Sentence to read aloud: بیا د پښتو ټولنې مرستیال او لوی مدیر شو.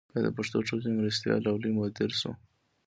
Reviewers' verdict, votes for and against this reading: accepted, 2, 1